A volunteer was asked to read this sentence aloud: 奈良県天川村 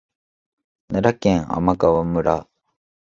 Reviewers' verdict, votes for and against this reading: accepted, 2, 1